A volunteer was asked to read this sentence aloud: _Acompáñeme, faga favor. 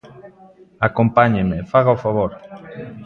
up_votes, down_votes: 0, 2